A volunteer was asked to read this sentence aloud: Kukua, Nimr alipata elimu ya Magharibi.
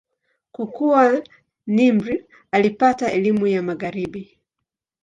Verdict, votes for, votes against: accepted, 2, 0